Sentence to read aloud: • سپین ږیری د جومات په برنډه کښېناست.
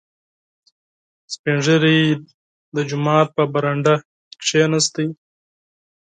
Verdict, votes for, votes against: rejected, 2, 4